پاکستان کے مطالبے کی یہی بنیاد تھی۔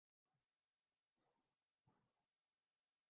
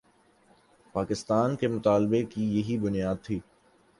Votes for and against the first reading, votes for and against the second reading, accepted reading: 0, 2, 2, 0, second